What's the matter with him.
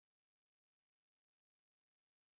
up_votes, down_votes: 0, 3